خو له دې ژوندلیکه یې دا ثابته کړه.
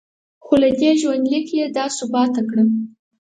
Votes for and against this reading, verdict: 0, 4, rejected